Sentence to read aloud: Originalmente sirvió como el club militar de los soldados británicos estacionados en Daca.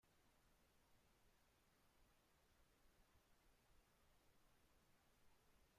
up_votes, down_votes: 0, 2